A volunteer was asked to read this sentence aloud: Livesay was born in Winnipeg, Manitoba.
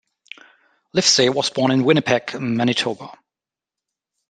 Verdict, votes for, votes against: accepted, 2, 0